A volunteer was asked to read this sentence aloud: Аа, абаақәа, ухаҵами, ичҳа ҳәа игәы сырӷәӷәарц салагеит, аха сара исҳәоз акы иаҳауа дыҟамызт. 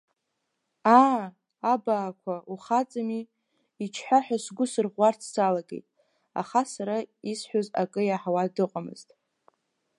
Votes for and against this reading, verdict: 2, 5, rejected